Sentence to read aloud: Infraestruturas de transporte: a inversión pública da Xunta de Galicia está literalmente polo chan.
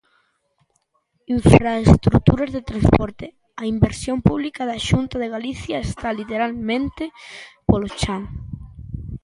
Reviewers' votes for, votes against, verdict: 0, 2, rejected